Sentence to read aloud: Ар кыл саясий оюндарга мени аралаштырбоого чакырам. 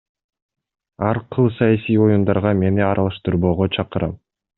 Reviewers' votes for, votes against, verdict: 2, 0, accepted